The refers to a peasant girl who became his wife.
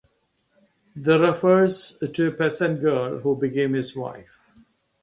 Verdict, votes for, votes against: accepted, 2, 0